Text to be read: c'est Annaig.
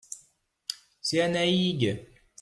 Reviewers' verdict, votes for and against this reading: accepted, 2, 0